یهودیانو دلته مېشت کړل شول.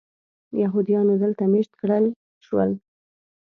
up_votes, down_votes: 1, 2